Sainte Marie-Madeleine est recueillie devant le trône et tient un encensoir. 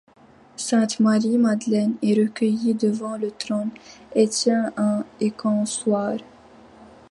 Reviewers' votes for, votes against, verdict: 2, 1, accepted